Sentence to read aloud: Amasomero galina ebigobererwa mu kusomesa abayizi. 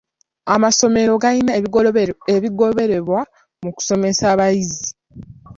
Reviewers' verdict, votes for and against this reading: accepted, 2, 1